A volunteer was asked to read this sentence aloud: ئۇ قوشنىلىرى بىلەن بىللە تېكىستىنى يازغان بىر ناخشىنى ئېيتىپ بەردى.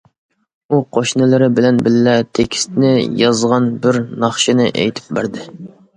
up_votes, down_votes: 2, 0